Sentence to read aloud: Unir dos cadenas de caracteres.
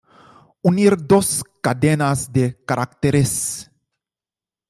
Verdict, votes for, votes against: accepted, 2, 1